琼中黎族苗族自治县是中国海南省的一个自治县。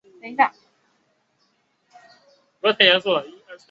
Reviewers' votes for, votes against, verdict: 0, 3, rejected